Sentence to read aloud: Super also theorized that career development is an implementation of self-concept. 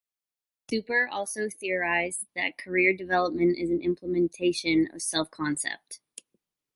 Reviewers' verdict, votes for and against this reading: rejected, 1, 2